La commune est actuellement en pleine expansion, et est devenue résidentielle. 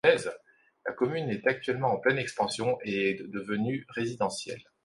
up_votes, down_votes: 1, 2